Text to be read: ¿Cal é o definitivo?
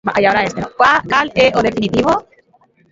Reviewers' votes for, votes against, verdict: 0, 2, rejected